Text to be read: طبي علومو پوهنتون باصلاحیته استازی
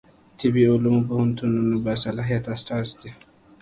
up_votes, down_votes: 1, 2